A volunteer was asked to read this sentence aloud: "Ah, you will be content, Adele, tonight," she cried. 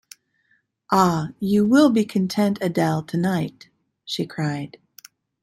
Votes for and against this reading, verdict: 2, 0, accepted